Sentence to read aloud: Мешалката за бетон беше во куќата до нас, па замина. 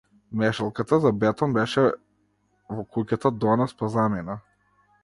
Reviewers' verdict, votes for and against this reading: rejected, 1, 2